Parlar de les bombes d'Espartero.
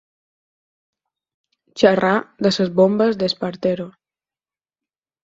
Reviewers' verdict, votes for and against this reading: rejected, 0, 4